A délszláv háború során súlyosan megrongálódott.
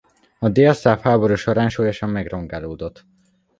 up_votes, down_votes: 2, 0